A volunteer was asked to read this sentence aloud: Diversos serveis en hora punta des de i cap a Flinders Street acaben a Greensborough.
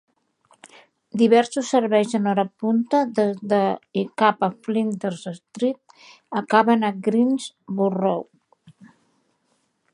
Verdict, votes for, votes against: rejected, 0, 2